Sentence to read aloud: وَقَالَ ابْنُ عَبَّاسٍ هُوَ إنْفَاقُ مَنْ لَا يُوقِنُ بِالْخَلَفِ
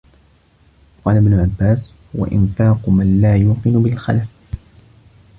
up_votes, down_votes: 1, 2